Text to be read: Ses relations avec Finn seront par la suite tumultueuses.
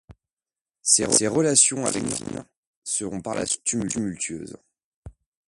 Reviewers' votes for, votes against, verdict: 2, 0, accepted